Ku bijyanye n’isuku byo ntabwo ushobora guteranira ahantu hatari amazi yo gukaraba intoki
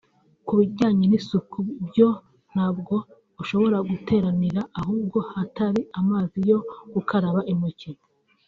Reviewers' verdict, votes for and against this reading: accepted, 2, 1